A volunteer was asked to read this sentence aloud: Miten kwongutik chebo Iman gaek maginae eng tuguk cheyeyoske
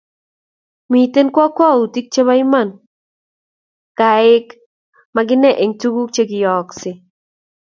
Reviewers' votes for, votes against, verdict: 2, 0, accepted